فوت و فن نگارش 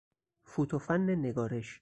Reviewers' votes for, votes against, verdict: 4, 0, accepted